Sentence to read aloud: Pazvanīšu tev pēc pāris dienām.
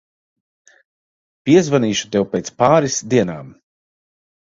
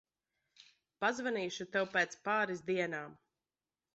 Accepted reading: second